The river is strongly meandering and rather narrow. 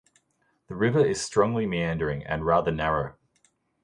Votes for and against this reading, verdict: 2, 0, accepted